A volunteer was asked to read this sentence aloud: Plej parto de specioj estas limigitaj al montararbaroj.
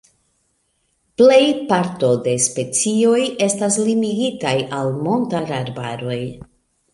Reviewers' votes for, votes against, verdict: 2, 1, accepted